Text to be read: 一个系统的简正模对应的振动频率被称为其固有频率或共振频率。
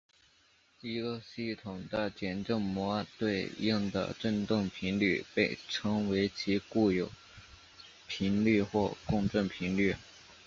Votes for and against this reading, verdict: 1, 2, rejected